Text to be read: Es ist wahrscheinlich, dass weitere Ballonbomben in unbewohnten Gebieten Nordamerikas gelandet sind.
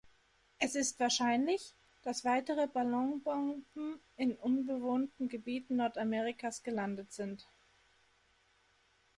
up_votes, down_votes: 2, 0